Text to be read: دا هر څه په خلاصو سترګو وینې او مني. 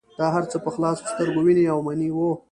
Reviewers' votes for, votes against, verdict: 2, 0, accepted